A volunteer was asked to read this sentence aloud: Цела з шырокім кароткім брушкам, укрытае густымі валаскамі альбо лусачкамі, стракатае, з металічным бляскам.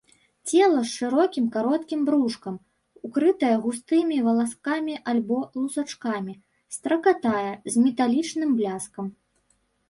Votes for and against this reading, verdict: 0, 2, rejected